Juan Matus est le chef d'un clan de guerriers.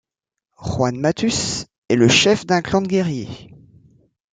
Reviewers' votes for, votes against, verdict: 2, 0, accepted